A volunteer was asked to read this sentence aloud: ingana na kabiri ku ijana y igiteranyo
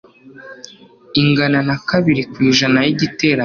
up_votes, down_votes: 3, 1